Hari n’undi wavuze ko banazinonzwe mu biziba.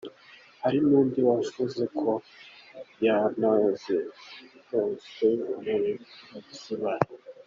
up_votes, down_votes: 0, 2